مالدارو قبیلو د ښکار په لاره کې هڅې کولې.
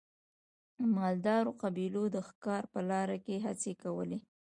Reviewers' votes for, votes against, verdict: 2, 0, accepted